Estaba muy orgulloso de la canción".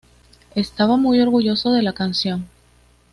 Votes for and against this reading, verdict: 2, 0, accepted